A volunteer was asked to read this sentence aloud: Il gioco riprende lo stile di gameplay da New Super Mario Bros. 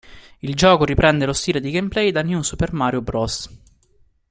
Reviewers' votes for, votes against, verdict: 2, 0, accepted